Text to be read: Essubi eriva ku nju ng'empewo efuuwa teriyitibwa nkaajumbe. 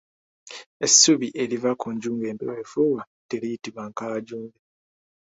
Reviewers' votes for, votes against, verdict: 3, 2, accepted